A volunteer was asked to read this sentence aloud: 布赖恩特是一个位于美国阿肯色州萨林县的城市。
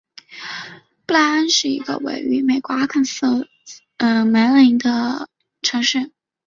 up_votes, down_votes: 2, 2